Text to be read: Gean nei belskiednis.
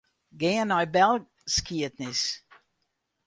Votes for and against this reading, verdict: 0, 2, rejected